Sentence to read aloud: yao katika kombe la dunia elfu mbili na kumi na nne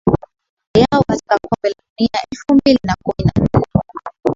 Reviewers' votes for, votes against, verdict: 0, 2, rejected